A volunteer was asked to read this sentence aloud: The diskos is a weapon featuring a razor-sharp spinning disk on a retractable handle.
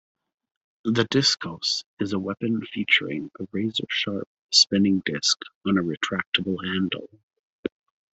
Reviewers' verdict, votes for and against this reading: accepted, 2, 0